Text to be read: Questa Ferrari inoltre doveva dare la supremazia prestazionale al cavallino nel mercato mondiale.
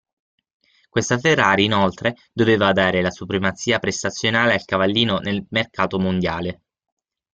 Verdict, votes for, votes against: rejected, 3, 6